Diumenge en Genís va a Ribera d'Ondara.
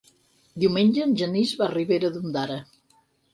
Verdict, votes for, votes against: accepted, 6, 0